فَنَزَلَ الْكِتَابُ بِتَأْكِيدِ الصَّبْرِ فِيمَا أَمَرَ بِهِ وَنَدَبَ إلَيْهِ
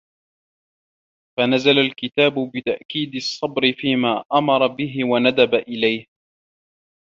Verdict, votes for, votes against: accepted, 2, 0